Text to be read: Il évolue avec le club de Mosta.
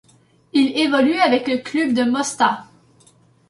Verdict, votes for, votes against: rejected, 2, 3